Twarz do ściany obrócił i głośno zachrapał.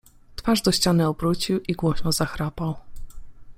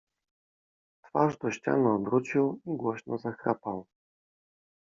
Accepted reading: first